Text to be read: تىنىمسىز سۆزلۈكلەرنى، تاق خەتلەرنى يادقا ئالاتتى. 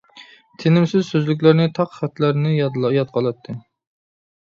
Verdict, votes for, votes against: rejected, 0, 2